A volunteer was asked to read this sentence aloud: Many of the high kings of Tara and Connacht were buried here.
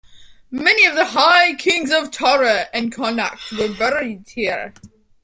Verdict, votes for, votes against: rejected, 1, 2